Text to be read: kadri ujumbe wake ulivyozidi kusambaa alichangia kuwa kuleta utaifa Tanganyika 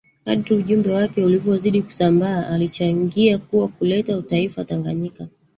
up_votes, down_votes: 3, 4